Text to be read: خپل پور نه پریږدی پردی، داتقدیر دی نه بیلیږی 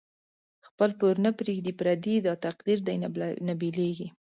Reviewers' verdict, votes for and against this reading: accepted, 2, 0